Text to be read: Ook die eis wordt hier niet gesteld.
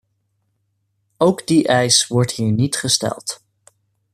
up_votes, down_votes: 2, 0